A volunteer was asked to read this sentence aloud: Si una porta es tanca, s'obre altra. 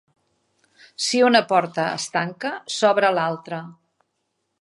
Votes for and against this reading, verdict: 1, 2, rejected